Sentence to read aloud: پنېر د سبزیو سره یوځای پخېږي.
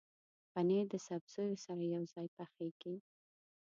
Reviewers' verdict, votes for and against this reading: rejected, 0, 2